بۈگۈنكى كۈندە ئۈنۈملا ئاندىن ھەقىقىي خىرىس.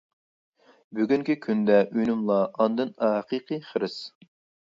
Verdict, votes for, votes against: accepted, 2, 0